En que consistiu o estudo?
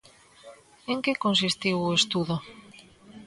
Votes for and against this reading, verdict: 2, 0, accepted